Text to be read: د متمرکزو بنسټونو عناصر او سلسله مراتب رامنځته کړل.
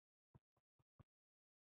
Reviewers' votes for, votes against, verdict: 1, 2, rejected